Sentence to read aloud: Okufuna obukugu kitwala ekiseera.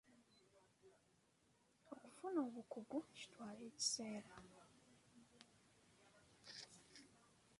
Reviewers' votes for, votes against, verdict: 0, 2, rejected